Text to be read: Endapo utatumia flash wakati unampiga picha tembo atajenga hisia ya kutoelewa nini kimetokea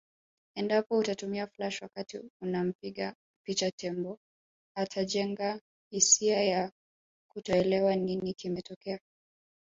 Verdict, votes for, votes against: rejected, 2, 3